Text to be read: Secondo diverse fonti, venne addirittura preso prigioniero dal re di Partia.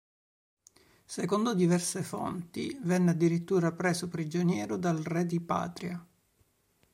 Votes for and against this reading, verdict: 3, 4, rejected